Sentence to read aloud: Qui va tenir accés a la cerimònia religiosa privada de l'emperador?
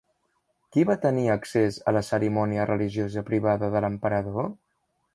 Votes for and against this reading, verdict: 3, 0, accepted